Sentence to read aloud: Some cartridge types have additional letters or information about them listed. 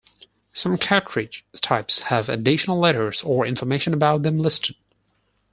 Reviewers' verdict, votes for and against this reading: rejected, 0, 4